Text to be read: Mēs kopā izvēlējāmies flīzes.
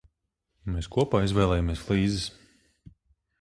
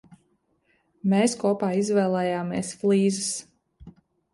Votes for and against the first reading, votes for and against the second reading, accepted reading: 3, 6, 2, 0, second